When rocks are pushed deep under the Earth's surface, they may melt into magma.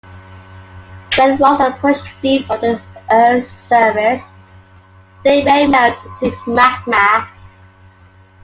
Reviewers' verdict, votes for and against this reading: rejected, 1, 2